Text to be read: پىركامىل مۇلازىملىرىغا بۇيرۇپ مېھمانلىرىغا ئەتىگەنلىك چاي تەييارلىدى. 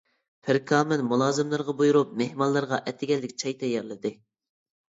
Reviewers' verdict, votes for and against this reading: accepted, 2, 0